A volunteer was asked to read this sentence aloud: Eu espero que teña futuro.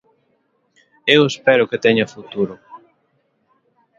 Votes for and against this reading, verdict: 1, 2, rejected